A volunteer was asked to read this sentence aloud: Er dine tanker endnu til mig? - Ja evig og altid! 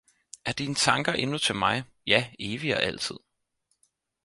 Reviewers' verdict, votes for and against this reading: accepted, 4, 0